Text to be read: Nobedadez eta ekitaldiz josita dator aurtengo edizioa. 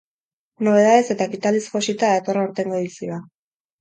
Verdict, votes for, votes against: rejected, 2, 2